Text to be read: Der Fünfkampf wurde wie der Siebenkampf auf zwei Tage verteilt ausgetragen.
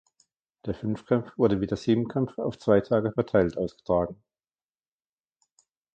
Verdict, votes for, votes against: rejected, 1, 2